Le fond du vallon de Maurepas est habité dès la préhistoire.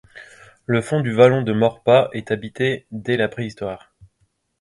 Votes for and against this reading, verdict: 2, 0, accepted